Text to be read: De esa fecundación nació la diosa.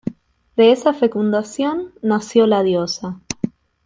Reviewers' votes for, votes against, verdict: 2, 0, accepted